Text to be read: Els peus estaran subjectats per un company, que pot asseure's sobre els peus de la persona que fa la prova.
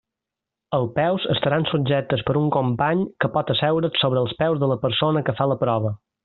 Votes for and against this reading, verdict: 0, 2, rejected